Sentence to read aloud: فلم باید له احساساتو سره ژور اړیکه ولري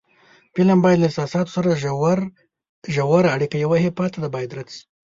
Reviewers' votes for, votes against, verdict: 0, 2, rejected